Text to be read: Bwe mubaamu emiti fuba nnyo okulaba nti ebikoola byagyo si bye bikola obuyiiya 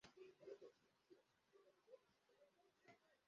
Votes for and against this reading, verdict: 0, 2, rejected